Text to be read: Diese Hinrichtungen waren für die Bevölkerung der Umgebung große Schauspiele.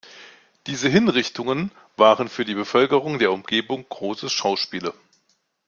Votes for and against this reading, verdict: 2, 0, accepted